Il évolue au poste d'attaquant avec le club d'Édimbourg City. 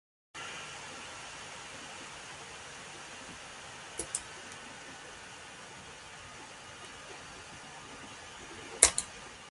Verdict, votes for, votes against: rejected, 0, 2